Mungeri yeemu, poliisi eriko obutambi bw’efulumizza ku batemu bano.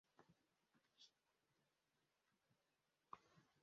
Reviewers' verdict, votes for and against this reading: rejected, 0, 2